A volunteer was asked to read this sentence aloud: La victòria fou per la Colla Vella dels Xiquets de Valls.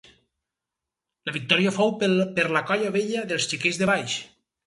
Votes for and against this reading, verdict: 2, 2, rejected